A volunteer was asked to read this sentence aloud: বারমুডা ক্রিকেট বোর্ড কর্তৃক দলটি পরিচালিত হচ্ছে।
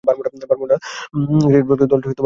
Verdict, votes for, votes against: rejected, 0, 2